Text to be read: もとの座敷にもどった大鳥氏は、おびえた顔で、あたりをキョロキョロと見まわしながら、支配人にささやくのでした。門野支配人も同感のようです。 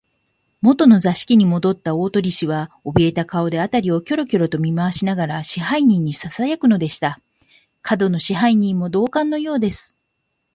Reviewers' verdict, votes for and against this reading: accepted, 4, 3